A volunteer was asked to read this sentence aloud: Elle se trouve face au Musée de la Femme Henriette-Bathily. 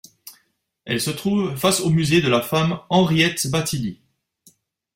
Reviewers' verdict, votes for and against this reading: accepted, 2, 0